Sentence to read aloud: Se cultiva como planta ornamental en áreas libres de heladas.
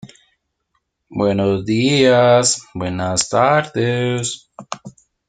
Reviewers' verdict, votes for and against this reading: rejected, 0, 2